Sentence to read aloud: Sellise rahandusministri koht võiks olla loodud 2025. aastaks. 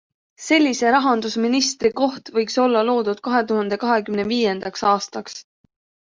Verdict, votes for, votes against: rejected, 0, 2